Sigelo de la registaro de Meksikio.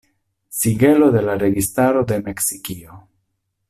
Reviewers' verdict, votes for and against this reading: accepted, 2, 0